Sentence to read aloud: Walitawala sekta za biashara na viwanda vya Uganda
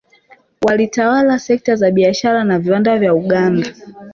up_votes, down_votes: 2, 1